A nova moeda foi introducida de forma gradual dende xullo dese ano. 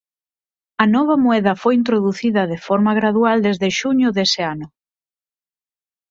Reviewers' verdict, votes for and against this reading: rejected, 2, 4